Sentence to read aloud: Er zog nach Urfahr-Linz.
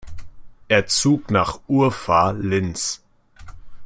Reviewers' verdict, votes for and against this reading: rejected, 1, 2